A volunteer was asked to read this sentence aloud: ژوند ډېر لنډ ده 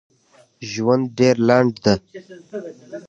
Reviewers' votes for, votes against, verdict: 3, 0, accepted